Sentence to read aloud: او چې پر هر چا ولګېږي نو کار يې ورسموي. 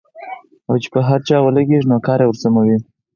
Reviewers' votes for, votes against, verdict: 4, 2, accepted